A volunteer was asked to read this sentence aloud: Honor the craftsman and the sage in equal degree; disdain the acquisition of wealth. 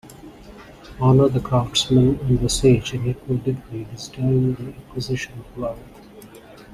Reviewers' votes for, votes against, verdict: 1, 2, rejected